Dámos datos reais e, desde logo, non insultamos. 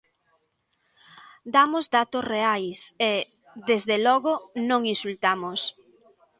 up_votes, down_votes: 2, 0